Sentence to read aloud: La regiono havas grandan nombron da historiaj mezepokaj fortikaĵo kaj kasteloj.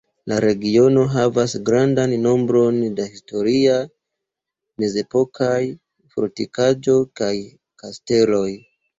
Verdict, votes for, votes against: accepted, 2, 0